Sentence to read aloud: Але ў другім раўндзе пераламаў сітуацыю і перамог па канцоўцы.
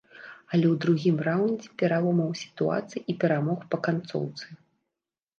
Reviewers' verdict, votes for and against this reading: rejected, 0, 4